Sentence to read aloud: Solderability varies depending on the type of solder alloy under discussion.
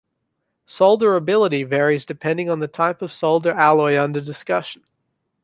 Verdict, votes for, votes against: accepted, 2, 0